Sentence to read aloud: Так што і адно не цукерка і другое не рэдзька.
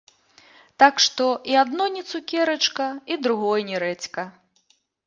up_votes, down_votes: 0, 2